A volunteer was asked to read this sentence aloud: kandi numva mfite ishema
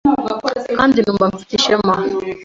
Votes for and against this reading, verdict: 2, 0, accepted